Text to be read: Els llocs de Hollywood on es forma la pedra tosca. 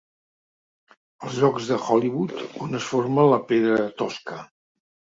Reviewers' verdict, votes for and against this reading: accepted, 3, 1